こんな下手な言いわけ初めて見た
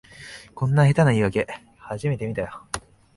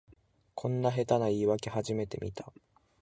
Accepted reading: second